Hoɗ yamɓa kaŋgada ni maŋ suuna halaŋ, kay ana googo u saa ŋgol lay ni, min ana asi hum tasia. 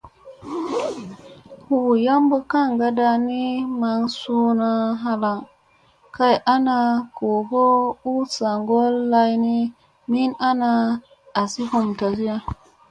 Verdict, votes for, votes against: accepted, 2, 0